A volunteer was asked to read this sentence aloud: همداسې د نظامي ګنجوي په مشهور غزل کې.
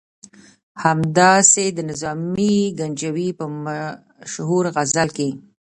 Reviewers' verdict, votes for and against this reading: accepted, 2, 0